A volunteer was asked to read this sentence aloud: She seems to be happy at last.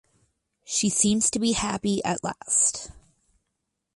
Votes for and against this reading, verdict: 4, 0, accepted